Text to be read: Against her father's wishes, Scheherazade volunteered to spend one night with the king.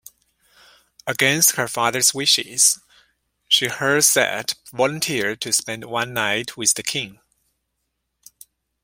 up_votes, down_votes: 2, 0